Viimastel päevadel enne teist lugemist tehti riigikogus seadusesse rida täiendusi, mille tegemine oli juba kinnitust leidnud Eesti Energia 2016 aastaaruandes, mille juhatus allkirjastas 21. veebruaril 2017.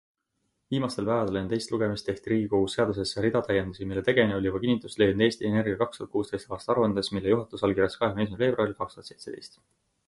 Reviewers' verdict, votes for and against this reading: rejected, 0, 2